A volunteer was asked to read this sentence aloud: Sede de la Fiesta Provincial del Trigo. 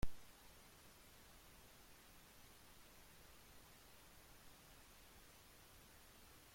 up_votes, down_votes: 0, 2